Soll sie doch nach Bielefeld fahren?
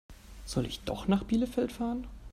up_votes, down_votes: 1, 2